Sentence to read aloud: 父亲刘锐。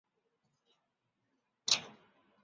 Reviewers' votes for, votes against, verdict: 0, 5, rejected